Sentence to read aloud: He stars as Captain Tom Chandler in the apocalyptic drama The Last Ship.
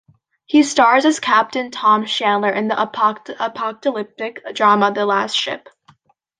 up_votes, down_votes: 1, 2